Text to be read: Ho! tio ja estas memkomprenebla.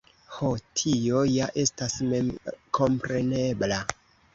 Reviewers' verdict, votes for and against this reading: rejected, 1, 2